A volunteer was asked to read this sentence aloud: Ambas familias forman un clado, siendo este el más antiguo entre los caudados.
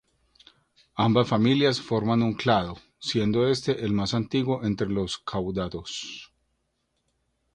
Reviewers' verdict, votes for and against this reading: rejected, 0, 2